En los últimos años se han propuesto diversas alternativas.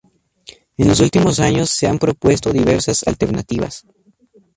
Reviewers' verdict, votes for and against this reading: accepted, 2, 0